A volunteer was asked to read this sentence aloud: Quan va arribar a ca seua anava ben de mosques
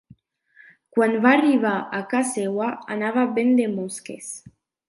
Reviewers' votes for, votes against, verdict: 2, 0, accepted